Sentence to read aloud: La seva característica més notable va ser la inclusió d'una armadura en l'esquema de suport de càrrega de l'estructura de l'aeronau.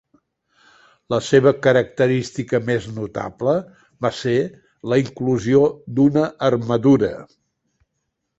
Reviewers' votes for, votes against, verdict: 0, 2, rejected